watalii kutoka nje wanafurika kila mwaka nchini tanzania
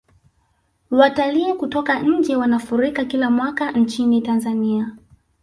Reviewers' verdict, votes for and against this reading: rejected, 0, 2